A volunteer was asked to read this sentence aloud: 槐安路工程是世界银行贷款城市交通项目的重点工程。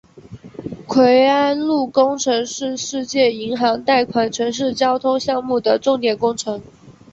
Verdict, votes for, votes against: rejected, 1, 3